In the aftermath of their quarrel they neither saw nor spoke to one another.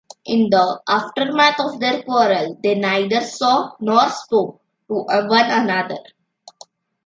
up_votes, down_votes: 2, 1